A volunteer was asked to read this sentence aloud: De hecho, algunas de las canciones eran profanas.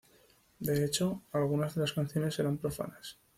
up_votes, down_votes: 2, 0